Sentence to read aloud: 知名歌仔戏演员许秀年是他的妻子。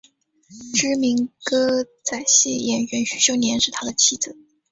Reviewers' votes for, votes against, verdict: 2, 0, accepted